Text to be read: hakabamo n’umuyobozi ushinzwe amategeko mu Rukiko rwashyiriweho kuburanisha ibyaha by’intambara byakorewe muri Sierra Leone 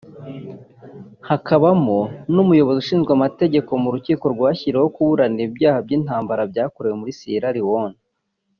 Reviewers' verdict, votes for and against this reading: rejected, 1, 2